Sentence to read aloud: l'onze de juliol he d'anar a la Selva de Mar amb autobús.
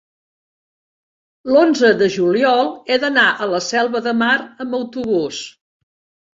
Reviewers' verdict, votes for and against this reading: accepted, 3, 0